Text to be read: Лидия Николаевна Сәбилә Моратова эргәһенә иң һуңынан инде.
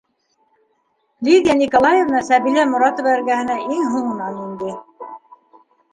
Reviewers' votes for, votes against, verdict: 0, 2, rejected